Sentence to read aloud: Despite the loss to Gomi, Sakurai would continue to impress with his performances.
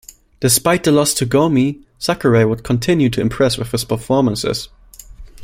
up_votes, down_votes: 2, 0